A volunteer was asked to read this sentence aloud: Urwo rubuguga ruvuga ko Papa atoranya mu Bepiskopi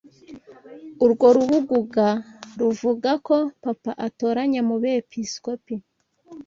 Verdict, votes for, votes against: accepted, 2, 0